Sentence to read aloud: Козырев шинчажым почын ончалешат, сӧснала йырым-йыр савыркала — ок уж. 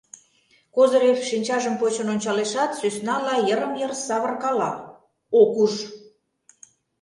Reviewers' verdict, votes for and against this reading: accepted, 2, 0